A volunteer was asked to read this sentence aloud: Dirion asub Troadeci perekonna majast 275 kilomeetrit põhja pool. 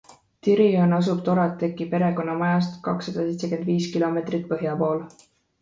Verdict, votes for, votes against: rejected, 0, 2